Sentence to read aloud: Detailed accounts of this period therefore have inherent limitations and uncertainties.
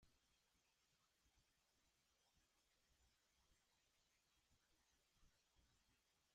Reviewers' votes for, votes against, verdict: 0, 2, rejected